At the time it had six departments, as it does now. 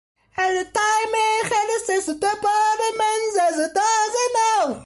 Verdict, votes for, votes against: rejected, 0, 2